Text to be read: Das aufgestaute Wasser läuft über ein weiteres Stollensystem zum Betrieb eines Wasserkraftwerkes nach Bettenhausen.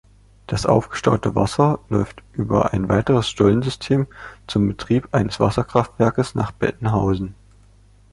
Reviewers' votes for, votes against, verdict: 2, 0, accepted